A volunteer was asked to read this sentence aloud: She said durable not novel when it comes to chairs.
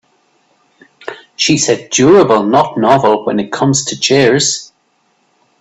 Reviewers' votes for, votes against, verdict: 3, 0, accepted